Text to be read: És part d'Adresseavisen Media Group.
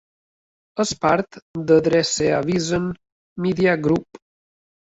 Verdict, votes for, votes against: accepted, 2, 0